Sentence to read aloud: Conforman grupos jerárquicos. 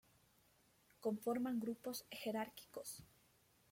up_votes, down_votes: 2, 1